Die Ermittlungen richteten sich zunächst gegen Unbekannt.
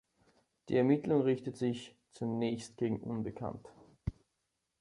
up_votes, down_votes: 1, 2